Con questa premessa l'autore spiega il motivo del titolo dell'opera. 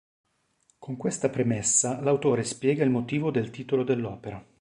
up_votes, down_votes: 2, 0